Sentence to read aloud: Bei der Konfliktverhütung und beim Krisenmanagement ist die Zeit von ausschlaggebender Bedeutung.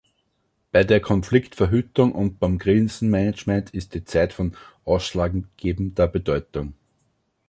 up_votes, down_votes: 1, 2